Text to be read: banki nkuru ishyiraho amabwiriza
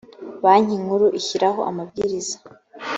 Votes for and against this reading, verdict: 2, 0, accepted